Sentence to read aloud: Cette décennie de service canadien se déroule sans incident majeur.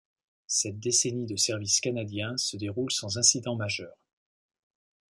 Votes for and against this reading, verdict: 2, 0, accepted